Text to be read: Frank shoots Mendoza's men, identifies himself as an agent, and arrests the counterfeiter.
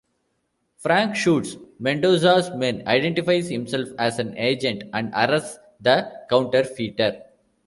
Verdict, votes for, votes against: rejected, 0, 2